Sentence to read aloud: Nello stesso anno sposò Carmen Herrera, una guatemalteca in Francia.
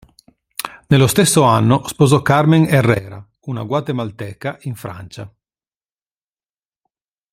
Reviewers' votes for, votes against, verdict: 2, 0, accepted